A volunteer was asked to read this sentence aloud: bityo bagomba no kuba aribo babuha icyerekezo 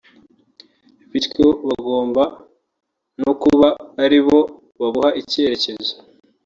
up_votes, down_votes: 2, 0